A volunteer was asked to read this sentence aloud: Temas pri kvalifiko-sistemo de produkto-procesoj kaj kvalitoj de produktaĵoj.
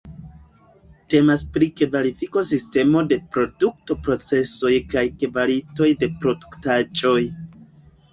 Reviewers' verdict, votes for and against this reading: rejected, 1, 2